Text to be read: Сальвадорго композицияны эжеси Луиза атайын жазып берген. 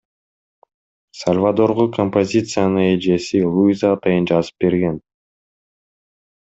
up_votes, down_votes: 2, 0